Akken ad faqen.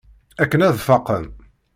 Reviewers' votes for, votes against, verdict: 2, 0, accepted